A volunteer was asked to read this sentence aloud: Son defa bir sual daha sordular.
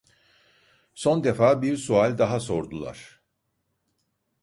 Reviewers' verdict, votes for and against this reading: accepted, 2, 0